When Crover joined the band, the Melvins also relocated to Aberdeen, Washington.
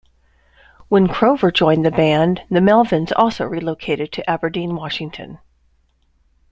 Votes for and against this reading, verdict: 2, 0, accepted